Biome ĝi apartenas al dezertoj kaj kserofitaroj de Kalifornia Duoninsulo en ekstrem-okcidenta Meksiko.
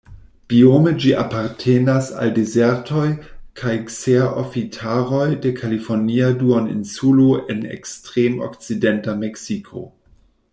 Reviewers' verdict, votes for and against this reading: rejected, 1, 2